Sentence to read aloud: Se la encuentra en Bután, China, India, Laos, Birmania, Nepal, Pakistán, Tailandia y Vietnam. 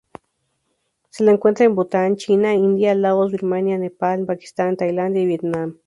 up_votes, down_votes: 2, 0